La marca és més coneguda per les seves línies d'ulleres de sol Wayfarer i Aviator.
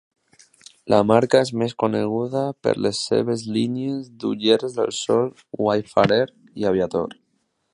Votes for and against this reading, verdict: 2, 0, accepted